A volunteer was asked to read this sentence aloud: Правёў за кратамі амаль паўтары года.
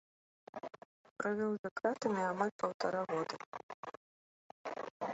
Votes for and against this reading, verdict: 0, 2, rejected